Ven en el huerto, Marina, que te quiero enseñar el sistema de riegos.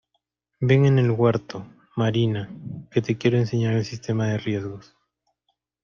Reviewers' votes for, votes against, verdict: 0, 2, rejected